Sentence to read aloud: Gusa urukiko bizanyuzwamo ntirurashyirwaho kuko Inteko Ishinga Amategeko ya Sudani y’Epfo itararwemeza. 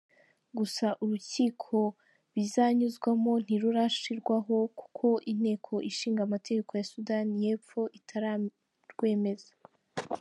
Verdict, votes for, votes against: accepted, 2, 1